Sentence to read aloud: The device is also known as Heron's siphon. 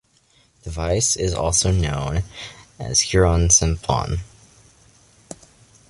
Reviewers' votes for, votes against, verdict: 2, 0, accepted